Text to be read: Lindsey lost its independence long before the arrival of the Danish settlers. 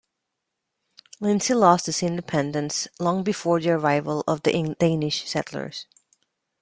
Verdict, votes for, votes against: rejected, 0, 2